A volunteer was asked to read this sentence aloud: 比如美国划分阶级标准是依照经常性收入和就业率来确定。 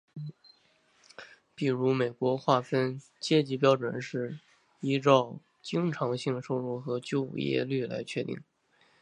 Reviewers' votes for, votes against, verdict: 2, 0, accepted